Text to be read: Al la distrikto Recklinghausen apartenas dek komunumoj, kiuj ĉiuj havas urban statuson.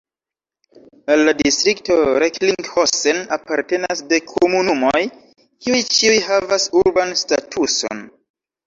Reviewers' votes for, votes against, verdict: 0, 2, rejected